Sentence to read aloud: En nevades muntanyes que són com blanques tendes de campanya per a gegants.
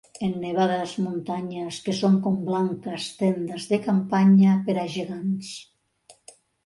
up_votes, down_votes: 3, 0